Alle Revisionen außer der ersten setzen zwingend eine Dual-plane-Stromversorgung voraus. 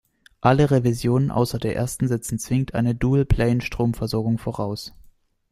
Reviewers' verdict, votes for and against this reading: accepted, 2, 0